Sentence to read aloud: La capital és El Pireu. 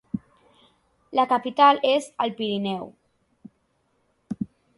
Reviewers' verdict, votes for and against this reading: rejected, 1, 3